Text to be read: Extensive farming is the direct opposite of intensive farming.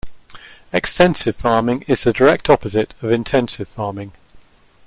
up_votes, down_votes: 2, 0